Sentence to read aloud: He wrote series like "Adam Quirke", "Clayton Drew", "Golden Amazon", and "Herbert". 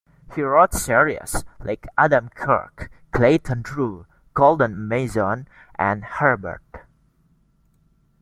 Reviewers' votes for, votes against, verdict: 0, 2, rejected